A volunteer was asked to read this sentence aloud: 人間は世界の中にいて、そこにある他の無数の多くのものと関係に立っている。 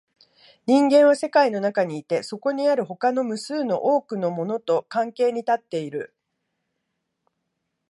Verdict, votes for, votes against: accepted, 2, 1